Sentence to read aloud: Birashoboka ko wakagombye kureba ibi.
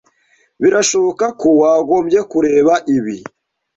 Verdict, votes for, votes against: rejected, 1, 2